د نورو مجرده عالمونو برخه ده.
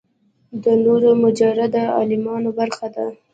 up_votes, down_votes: 2, 0